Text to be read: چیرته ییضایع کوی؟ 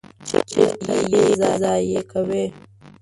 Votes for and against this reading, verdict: 1, 2, rejected